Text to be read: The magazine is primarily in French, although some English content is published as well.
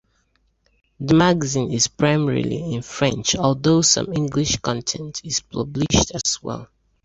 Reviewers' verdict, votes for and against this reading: accepted, 2, 0